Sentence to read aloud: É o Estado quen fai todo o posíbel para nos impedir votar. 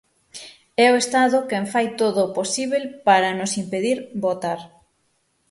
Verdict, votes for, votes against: accepted, 6, 0